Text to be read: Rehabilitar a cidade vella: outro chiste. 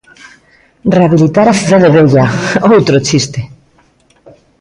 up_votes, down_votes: 1, 2